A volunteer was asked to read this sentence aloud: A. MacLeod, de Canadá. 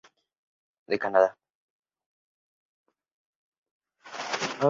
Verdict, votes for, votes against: rejected, 0, 2